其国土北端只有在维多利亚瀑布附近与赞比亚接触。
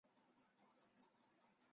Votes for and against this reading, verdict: 0, 4, rejected